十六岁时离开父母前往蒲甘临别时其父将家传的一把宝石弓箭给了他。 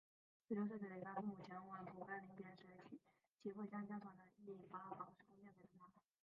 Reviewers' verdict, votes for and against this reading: rejected, 0, 3